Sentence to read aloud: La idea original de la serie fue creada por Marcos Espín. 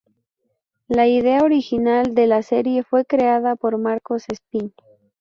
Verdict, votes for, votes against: accepted, 2, 0